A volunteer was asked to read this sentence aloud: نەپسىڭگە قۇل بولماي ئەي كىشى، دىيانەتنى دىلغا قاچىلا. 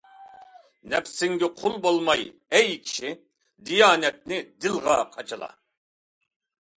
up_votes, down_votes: 2, 0